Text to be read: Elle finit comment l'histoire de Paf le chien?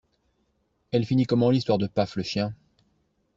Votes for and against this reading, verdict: 2, 0, accepted